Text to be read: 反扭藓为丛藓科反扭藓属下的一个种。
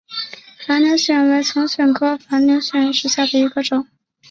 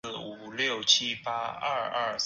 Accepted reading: first